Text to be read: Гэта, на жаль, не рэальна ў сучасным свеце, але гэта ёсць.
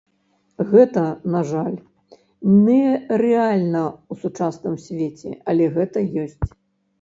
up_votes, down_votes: 1, 2